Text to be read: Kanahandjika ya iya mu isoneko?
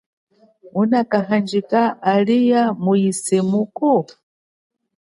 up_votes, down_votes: 0, 2